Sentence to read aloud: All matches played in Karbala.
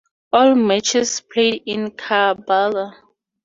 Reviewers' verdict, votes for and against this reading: accepted, 4, 0